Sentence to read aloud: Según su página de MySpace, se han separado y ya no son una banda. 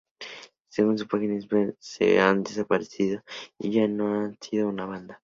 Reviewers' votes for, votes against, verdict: 0, 2, rejected